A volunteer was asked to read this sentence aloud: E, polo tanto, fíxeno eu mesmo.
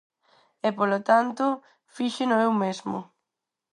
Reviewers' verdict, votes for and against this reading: accepted, 4, 0